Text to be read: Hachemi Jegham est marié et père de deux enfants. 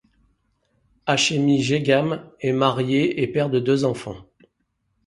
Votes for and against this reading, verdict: 2, 0, accepted